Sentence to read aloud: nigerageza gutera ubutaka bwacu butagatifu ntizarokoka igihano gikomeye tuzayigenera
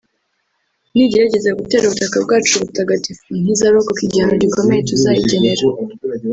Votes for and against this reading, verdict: 1, 2, rejected